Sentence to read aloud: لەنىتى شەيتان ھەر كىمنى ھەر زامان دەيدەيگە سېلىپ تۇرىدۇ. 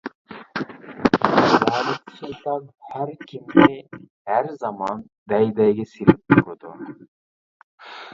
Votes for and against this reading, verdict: 1, 2, rejected